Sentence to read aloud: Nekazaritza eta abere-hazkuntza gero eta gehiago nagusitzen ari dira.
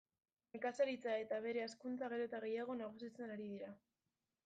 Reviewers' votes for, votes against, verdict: 1, 2, rejected